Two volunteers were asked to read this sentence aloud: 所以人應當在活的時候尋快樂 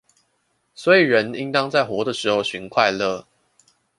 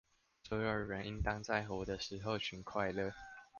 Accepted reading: first